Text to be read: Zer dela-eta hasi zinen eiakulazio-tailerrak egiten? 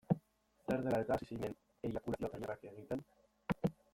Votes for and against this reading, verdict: 1, 2, rejected